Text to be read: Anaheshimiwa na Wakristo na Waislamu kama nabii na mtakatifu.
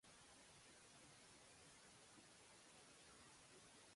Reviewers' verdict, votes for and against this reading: rejected, 0, 2